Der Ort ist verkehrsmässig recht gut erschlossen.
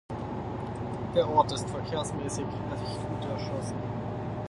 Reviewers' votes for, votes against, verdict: 2, 4, rejected